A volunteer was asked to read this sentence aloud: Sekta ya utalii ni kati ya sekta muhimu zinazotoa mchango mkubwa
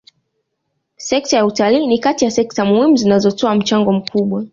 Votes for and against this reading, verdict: 2, 0, accepted